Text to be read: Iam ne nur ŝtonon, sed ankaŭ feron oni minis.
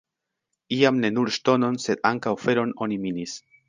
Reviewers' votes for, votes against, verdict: 2, 0, accepted